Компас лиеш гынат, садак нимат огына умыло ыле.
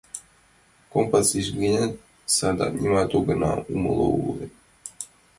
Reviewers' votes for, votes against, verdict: 1, 2, rejected